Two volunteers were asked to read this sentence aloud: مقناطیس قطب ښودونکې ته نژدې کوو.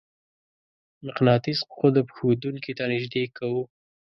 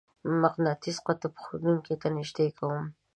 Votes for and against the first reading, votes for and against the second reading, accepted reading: 2, 0, 1, 2, first